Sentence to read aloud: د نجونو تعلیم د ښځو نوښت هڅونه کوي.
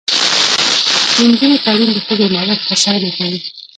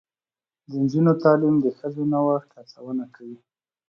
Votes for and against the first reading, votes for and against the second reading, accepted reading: 1, 2, 2, 0, second